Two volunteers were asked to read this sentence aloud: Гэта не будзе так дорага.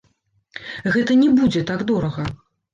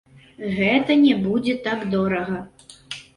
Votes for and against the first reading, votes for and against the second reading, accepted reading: 3, 0, 1, 2, first